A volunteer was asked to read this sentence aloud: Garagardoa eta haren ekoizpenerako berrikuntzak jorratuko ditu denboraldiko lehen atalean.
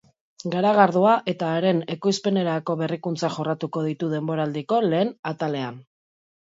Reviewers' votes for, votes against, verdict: 3, 0, accepted